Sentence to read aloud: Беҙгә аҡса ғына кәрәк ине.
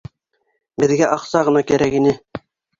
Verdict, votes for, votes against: accepted, 3, 0